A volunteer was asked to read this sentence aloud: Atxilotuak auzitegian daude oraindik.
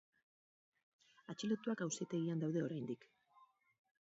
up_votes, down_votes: 4, 0